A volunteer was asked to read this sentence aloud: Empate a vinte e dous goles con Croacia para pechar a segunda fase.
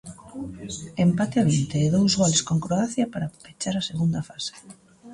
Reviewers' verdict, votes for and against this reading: rejected, 0, 2